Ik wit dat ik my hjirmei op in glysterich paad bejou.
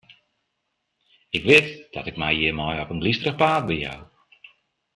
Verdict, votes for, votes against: rejected, 1, 2